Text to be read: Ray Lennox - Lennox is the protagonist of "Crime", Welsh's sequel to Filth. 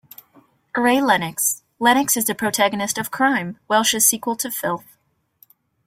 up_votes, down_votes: 2, 0